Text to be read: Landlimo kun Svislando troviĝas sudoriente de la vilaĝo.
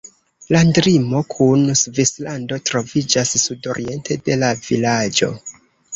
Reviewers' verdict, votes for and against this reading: rejected, 1, 2